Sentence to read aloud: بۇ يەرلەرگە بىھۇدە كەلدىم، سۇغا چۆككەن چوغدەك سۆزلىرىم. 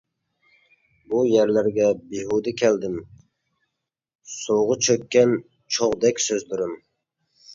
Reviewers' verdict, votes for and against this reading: accepted, 2, 0